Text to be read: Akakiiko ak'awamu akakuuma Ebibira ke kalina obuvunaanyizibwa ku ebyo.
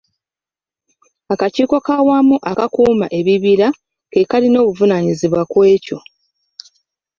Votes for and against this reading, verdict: 1, 2, rejected